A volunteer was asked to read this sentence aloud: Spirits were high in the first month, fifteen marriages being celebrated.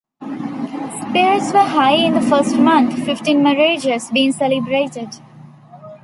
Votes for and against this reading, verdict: 3, 1, accepted